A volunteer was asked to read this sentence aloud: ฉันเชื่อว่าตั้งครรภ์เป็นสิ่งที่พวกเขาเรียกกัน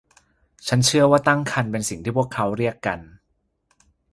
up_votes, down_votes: 2, 0